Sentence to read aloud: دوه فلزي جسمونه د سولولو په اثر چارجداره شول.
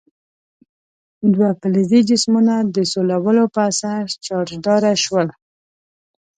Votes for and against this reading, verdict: 2, 0, accepted